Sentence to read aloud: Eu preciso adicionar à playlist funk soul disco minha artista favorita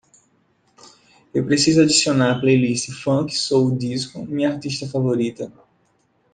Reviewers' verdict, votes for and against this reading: accepted, 2, 0